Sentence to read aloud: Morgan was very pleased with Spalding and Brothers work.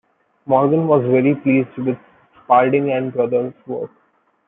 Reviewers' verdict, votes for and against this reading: rejected, 1, 2